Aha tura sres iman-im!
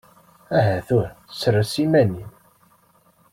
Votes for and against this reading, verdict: 2, 0, accepted